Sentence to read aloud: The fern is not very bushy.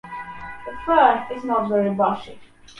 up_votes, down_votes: 1, 2